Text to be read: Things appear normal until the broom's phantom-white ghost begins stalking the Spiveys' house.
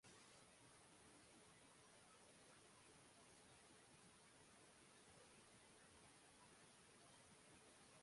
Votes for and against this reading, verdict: 0, 2, rejected